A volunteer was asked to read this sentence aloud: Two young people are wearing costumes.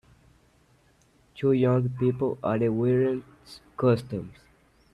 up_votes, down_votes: 1, 2